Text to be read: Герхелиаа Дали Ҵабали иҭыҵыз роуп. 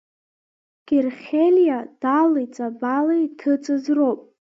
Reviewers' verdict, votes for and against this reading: accepted, 2, 1